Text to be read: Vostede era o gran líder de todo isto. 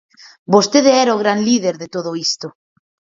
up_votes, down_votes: 4, 0